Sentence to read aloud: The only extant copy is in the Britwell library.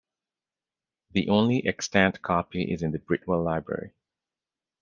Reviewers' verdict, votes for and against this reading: accepted, 2, 1